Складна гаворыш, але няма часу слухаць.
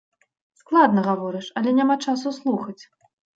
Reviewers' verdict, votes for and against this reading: accepted, 2, 0